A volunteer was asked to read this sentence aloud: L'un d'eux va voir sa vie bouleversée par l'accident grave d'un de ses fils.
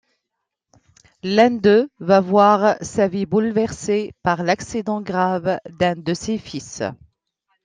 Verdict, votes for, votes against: accepted, 2, 0